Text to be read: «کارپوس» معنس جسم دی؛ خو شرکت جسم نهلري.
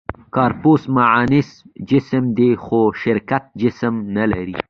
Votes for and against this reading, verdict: 2, 1, accepted